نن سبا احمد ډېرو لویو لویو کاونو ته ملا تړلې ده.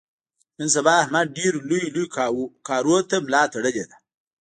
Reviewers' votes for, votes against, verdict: 0, 2, rejected